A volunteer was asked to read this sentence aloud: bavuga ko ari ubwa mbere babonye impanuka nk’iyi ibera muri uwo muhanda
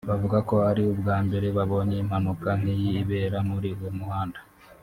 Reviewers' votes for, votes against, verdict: 0, 2, rejected